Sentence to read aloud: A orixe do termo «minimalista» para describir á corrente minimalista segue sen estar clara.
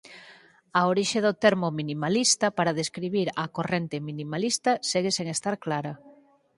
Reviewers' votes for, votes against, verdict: 4, 0, accepted